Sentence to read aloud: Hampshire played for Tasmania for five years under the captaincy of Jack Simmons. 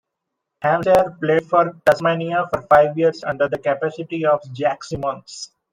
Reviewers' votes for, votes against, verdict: 1, 2, rejected